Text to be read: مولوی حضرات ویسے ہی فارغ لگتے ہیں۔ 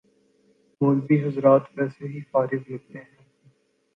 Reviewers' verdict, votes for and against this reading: rejected, 1, 2